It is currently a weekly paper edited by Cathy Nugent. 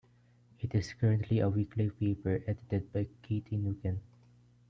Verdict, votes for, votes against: rejected, 1, 2